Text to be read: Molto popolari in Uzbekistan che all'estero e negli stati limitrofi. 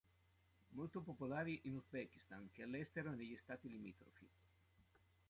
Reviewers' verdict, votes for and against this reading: rejected, 0, 2